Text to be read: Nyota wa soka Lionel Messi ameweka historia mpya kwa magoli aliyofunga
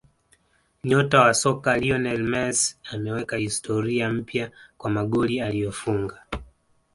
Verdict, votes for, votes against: accepted, 2, 0